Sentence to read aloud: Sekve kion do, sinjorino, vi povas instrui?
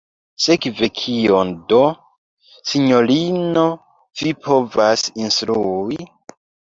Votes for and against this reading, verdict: 1, 2, rejected